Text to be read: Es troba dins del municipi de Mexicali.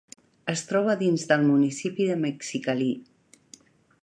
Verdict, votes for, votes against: rejected, 1, 2